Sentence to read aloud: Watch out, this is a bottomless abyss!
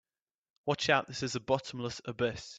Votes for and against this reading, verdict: 2, 0, accepted